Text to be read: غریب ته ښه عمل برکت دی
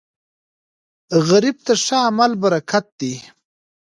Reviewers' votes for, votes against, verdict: 2, 0, accepted